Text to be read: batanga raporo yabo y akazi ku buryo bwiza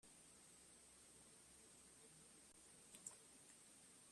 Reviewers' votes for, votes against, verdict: 0, 2, rejected